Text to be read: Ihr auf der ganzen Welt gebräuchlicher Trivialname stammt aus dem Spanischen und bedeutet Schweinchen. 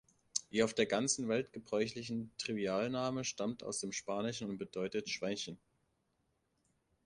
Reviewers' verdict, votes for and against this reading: rejected, 0, 2